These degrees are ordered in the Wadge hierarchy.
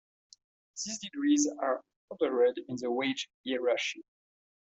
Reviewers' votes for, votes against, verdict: 1, 2, rejected